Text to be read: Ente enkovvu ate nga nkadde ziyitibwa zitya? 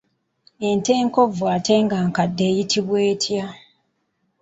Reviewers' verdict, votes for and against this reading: rejected, 1, 2